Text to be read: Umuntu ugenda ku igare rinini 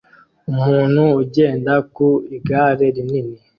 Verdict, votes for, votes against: accepted, 2, 0